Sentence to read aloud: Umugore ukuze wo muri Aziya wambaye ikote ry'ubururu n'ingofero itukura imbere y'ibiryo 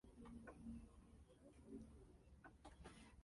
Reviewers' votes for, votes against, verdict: 0, 2, rejected